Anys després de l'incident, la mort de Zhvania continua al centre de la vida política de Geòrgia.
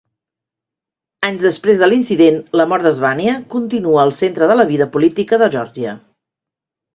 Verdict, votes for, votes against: accepted, 2, 0